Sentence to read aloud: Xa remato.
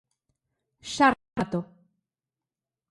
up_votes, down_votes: 0, 3